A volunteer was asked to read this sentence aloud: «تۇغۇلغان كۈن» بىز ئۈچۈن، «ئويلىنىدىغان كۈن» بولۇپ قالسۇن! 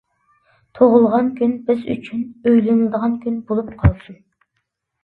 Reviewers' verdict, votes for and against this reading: accepted, 2, 1